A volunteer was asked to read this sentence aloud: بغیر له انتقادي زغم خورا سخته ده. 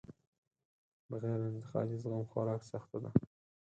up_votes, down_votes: 4, 2